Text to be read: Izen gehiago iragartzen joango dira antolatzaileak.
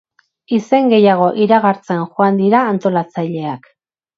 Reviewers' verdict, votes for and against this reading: rejected, 2, 2